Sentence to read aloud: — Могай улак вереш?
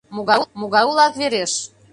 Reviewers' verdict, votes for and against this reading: rejected, 0, 2